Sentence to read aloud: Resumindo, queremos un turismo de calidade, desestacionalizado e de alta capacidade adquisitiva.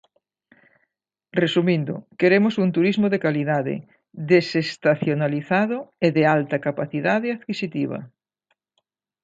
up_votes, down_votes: 2, 0